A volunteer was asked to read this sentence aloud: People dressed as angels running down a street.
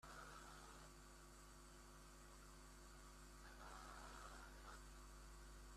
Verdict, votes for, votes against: rejected, 0, 2